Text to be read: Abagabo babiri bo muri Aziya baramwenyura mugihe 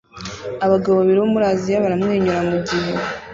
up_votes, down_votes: 2, 0